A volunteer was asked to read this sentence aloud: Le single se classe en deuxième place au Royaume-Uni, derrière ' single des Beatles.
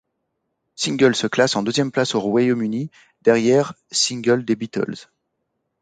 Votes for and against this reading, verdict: 1, 2, rejected